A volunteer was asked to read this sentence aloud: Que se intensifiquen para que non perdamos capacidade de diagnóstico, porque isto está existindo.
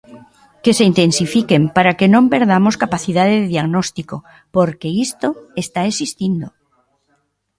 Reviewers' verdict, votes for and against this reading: rejected, 0, 2